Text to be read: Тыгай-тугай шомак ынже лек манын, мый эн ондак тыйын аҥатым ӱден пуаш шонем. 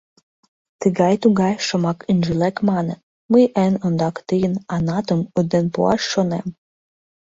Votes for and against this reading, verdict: 0, 2, rejected